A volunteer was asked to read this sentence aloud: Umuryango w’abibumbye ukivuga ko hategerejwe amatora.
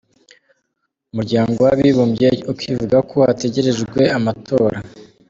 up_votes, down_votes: 2, 0